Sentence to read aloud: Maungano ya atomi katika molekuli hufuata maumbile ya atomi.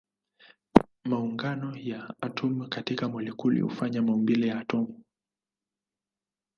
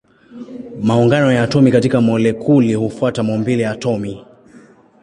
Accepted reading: second